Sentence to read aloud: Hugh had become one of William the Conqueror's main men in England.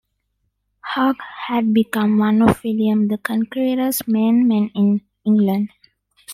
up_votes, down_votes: 0, 2